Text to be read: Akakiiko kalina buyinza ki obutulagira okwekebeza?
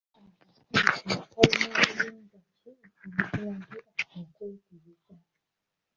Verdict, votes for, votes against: rejected, 0, 2